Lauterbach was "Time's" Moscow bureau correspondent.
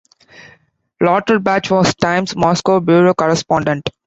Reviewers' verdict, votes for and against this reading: accepted, 2, 0